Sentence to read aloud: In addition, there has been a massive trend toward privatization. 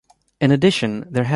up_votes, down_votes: 0, 2